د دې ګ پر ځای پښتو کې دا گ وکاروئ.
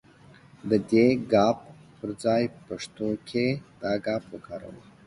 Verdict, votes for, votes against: accepted, 3, 0